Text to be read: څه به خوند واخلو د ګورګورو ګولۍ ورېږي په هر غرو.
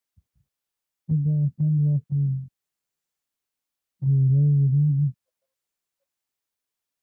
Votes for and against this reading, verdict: 0, 2, rejected